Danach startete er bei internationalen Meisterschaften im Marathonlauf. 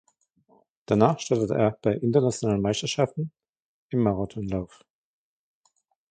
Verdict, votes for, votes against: rejected, 1, 2